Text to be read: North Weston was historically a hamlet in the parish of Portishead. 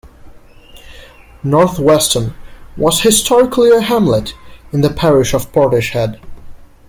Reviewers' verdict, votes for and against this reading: rejected, 1, 2